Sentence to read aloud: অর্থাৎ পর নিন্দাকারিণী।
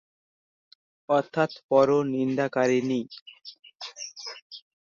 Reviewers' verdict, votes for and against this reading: accepted, 5, 2